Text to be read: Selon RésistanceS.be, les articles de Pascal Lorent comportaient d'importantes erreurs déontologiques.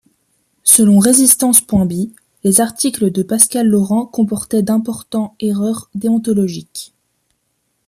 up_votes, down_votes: 1, 2